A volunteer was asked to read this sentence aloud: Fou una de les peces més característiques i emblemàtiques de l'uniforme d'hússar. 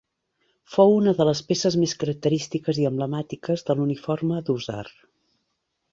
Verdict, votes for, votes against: accepted, 2, 0